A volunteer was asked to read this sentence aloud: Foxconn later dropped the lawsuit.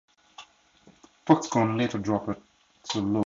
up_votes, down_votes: 2, 0